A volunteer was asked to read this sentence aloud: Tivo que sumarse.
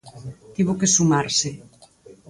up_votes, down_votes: 6, 0